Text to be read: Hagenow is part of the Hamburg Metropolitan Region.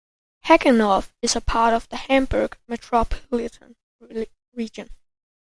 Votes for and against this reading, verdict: 0, 2, rejected